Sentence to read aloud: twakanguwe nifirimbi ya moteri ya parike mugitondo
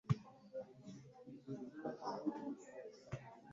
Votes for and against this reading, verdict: 0, 2, rejected